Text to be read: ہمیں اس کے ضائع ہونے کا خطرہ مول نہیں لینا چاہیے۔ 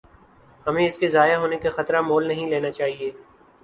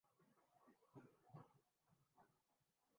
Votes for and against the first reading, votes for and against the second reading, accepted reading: 4, 0, 2, 10, first